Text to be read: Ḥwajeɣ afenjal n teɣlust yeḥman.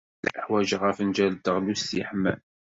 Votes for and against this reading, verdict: 2, 0, accepted